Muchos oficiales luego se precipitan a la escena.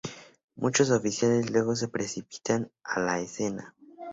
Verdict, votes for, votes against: accepted, 2, 0